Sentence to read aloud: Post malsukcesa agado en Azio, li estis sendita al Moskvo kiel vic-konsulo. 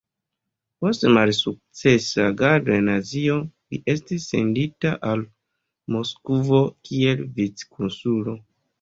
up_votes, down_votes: 2, 0